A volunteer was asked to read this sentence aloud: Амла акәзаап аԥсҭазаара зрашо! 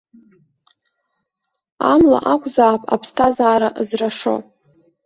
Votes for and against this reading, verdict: 1, 2, rejected